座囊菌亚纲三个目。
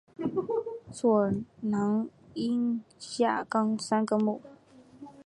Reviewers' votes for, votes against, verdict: 3, 1, accepted